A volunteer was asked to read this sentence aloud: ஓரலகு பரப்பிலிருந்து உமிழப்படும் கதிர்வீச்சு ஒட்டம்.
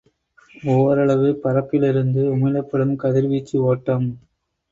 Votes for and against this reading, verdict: 1, 2, rejected